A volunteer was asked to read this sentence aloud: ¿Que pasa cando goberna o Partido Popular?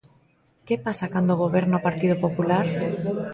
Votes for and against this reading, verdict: 0, 2, rejected